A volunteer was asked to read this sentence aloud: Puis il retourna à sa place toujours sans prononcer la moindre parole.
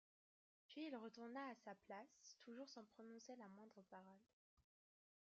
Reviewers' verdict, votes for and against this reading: rejected, 0, 2